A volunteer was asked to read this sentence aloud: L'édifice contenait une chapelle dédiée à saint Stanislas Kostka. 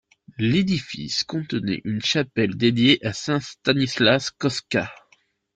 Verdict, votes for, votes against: accepted, 2, 0